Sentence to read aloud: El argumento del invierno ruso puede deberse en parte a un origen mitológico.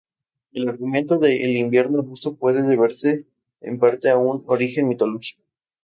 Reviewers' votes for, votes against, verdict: 2, 0, accepted